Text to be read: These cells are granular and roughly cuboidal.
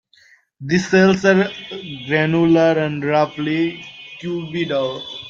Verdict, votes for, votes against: rejected, 0, 2